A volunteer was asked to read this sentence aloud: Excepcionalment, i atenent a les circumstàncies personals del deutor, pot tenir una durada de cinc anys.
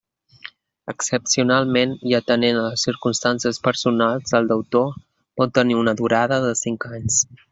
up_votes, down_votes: 0, 2